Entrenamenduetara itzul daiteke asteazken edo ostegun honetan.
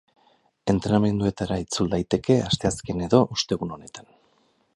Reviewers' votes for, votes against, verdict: 2, 0, accepted